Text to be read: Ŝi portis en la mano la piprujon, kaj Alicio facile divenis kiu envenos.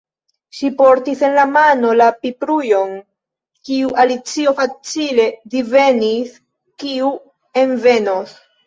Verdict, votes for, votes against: rejected, 1, 2